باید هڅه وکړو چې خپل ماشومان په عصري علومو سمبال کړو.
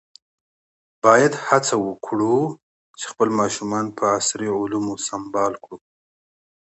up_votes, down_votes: 2, 0